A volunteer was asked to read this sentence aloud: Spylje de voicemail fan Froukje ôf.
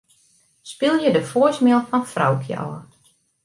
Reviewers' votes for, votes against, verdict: 2, 0, accepted